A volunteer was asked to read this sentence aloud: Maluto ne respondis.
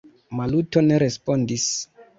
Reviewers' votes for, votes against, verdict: 2, 1, accepted